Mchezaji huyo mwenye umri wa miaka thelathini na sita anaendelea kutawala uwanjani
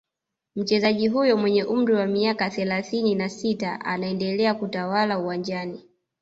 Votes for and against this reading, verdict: 2, 0, accepted